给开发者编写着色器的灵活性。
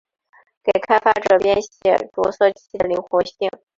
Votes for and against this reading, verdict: 2, 3, rejected